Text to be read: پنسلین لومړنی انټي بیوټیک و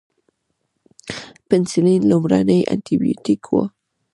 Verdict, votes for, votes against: rejected, 0, 2